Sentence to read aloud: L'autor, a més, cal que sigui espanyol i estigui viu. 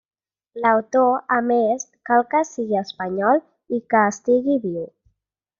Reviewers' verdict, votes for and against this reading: rejected, 1, 2